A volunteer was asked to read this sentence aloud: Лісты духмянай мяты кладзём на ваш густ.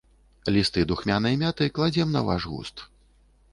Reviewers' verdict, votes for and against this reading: rejected, 1, 2